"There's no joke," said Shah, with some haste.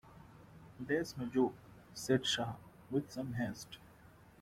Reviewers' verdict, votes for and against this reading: accepted, 2, 0